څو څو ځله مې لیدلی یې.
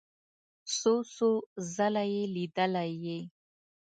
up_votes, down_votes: 1, 2